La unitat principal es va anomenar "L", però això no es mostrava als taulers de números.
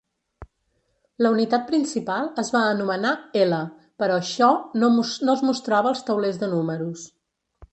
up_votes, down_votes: 0, 2